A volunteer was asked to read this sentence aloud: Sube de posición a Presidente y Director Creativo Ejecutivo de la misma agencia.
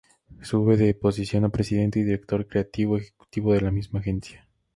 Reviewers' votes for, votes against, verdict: 0, 2, rejected